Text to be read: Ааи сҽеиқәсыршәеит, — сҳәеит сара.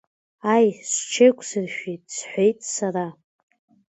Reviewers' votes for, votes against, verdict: 2, 1, accepted